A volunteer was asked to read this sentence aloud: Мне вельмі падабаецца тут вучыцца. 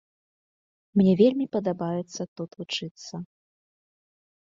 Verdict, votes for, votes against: accepted, 2, 0